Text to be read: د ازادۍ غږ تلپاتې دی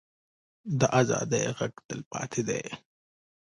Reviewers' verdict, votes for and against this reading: rejected, 1, 2